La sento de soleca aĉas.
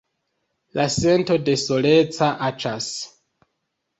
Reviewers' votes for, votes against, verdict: 2, 1, accepted